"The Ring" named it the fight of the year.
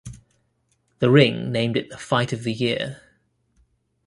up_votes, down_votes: 2, 0